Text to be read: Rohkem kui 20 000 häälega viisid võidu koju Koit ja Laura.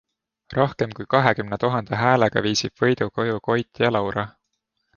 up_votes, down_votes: 0, 2